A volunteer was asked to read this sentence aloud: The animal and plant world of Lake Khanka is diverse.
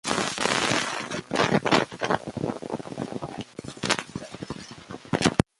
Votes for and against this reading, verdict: 0, 2, rejected